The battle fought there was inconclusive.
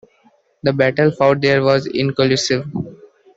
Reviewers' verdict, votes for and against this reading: rejected, 0, 2